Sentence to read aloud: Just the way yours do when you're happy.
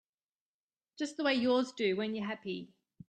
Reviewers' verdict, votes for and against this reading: accepted, 2, 0